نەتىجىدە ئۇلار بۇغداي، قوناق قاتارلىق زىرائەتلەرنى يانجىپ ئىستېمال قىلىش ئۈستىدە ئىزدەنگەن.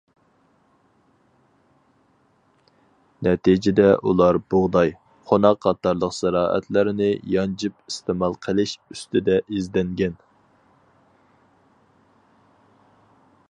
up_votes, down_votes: 4, 0